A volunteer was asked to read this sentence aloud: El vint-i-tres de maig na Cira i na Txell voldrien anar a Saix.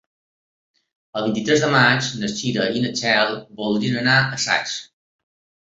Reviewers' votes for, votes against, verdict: 3, 0, accepted